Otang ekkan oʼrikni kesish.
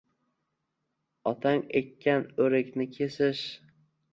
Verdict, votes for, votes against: accepted, 2, 0